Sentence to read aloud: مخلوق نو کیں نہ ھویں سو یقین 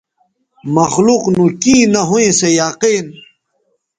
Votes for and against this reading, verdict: 2, 0, accepted